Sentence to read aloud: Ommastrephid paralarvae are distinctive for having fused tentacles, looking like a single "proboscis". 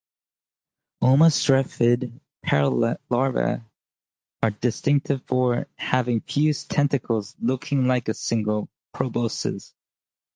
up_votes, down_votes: 0, 2